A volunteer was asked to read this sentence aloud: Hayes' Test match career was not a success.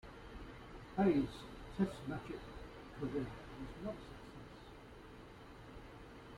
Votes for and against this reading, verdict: 0, 2, rejected